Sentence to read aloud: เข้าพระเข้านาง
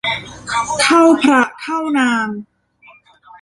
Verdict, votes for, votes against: rejected, 1, 2